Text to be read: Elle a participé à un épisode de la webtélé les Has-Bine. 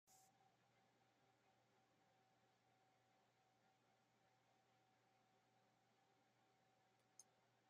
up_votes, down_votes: 0, 2